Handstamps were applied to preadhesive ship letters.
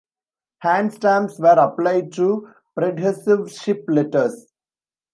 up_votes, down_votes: 1, 2